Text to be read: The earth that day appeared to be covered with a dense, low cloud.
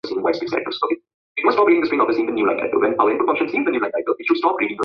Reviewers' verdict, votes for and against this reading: rejected, 0, 2